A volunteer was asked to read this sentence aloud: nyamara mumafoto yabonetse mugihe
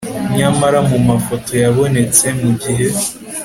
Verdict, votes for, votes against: accepted, 2, 0